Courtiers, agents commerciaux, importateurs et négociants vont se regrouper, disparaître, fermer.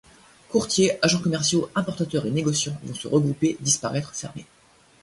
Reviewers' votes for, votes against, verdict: 1, 2, rejected